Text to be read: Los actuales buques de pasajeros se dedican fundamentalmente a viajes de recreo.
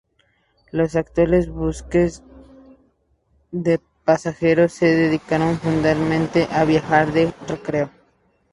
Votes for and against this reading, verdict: 0, 6, rejected